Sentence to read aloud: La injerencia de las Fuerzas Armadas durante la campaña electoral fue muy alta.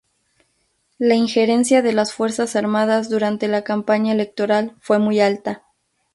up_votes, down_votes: 2, 0